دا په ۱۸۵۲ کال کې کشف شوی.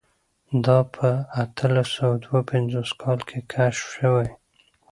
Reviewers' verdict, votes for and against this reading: rejected, 0, 2